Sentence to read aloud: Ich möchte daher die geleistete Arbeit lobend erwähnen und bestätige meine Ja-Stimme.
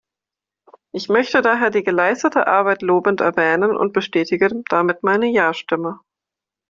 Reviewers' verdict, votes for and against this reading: rejected, 0, 2